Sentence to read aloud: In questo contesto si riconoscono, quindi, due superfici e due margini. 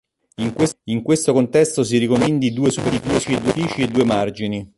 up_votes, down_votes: 0, 2